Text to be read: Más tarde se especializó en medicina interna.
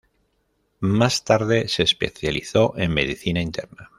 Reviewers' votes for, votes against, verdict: 1, 2, rejected